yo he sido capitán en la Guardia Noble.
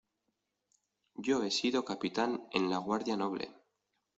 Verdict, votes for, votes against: accepted, 2, 0